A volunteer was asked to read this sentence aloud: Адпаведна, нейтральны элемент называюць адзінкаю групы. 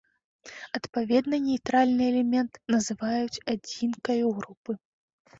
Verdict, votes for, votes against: accepted, 2, 0